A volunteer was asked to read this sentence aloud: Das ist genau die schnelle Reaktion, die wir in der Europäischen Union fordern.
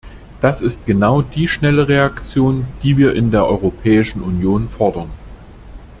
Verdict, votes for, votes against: accepted, 2, 0